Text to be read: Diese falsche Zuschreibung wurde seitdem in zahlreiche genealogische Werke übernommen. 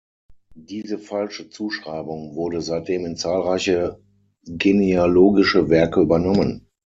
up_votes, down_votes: 9, 0